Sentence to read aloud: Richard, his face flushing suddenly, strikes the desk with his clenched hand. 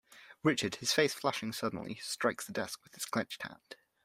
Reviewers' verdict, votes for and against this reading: accepted, 2, 0